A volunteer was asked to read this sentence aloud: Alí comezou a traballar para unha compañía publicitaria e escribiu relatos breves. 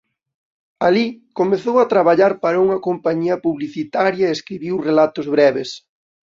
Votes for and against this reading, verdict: 2, 0, accepted